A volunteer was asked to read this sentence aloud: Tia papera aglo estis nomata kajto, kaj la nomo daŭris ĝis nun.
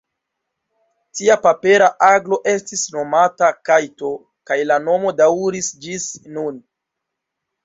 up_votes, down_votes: 0, 2